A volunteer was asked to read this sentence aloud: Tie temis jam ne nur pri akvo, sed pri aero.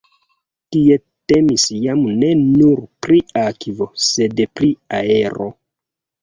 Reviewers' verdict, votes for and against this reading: rejected, 0, 2